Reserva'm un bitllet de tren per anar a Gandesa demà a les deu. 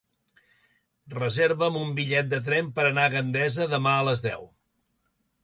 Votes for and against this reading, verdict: 2, 0, accepted